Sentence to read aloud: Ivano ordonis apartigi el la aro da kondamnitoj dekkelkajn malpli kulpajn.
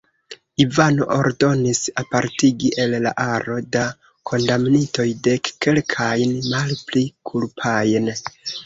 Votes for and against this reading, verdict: 1, 2, rejected